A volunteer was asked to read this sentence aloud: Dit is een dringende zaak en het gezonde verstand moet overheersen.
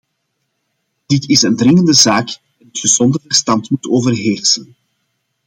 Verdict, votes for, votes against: rejected, 0, 2